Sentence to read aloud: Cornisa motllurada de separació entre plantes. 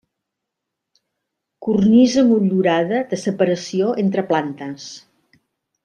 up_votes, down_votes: 2, 0